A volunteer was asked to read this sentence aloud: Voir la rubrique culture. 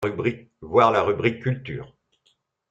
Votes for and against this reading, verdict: 0, 2, rejected